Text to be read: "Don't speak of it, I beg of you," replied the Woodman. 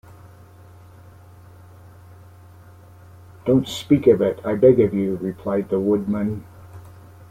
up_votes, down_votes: 1, 2